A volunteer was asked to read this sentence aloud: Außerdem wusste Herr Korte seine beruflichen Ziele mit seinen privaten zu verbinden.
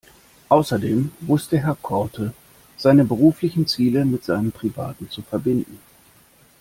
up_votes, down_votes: 2, 0